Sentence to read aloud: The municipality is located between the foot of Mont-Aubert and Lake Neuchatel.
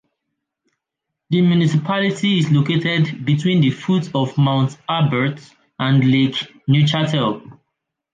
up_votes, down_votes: 2, 1